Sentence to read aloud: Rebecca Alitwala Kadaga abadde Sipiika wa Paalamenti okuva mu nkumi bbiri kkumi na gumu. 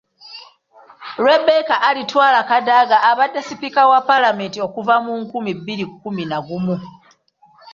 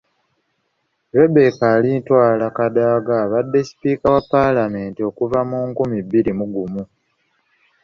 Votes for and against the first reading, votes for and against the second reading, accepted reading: 2, 0, 0, 3, first